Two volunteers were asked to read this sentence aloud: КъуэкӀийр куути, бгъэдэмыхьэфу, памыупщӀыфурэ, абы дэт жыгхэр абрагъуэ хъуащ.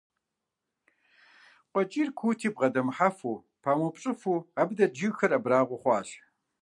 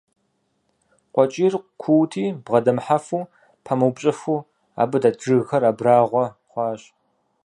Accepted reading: first